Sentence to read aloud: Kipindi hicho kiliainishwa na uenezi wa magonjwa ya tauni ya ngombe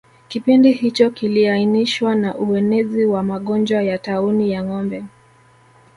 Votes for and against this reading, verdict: 2, 0, accepted